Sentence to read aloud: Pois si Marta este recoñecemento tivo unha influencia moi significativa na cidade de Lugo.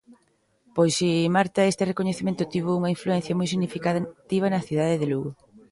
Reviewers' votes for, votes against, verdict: 1, 2, rejected